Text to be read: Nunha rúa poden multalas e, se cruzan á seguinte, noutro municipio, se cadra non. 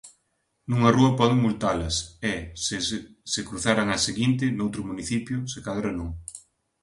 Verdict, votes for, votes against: rejected, 0, 2